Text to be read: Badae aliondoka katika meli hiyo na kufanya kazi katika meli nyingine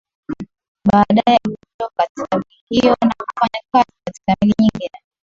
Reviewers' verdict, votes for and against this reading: rejected, 1, 6